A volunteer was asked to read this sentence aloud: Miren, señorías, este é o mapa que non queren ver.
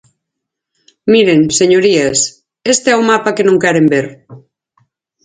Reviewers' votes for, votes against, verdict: 4, 0, accepted